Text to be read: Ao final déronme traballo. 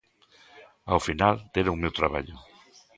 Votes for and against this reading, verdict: 1, 3, rejected